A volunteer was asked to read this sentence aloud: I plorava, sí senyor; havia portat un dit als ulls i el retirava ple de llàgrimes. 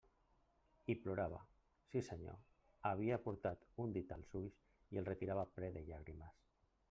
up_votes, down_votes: 0, 2